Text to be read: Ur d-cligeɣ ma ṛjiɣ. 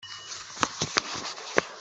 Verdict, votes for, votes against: rejected, 1, 2